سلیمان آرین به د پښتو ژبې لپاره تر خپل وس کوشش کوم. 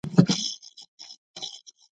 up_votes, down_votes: 0, 2